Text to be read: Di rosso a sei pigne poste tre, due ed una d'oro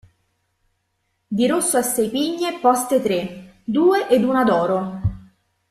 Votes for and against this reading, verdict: 0, 2, rejected